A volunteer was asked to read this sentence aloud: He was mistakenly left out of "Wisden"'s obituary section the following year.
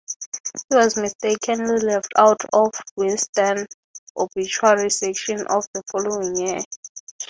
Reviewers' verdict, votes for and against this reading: accepted, 3, 0